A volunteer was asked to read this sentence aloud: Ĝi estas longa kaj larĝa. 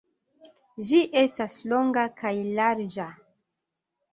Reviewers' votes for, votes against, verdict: 2, 0, accepted